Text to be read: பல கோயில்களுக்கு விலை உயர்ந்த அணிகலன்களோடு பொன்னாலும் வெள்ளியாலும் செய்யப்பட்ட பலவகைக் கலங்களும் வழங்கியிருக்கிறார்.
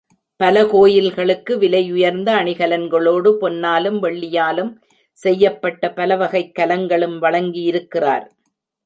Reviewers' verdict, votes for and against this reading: accepted, 3, 0